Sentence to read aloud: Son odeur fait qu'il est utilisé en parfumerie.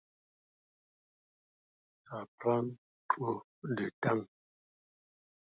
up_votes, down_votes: 0, 2